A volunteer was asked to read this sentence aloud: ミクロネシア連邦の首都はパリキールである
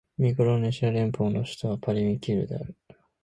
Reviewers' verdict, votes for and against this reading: rejected, 0, 2